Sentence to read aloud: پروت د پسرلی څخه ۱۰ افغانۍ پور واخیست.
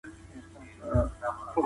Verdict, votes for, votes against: rejected, 0, 2